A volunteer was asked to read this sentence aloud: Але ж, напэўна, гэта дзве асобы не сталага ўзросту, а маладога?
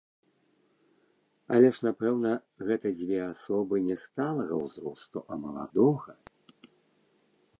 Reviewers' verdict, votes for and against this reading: rejected, 1, 2